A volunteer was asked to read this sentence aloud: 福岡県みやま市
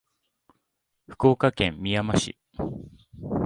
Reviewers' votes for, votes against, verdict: 2, 0, accepted